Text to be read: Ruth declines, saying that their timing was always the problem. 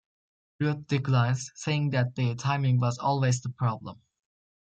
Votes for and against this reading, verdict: 2, 0, accepted